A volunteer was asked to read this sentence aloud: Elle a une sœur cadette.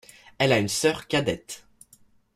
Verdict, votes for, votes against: accepted, 2, 0